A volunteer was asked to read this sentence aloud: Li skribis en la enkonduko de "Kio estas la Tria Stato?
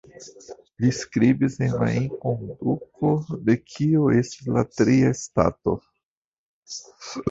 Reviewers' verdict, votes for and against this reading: rejected, 1, 2